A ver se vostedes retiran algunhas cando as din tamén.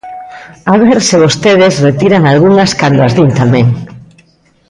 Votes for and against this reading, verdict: 3, 0, accepted